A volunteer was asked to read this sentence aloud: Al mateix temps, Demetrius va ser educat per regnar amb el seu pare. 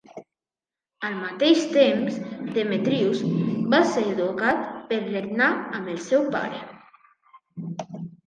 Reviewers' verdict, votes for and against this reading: accepted, 2, 1